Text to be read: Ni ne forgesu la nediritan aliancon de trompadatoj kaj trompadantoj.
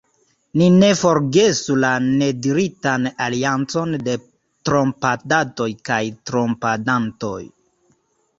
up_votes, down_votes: 2, 0